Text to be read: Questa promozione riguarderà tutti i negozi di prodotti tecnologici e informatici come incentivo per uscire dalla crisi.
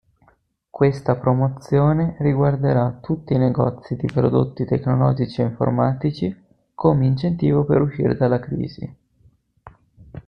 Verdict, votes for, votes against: accepted, 2, 0